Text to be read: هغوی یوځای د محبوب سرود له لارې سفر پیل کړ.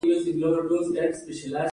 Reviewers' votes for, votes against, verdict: 2, 0, accepted